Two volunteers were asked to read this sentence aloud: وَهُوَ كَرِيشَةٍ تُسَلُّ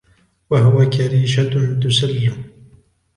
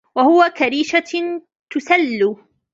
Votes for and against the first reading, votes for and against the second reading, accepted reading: 2, 0, 1, 2, first